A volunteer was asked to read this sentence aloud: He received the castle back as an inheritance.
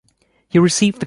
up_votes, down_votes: 0, 2